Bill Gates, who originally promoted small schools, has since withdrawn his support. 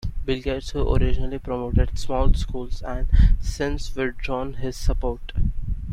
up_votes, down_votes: 1, 2